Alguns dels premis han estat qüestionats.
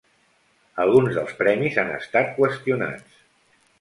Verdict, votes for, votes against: accepted, 2, 0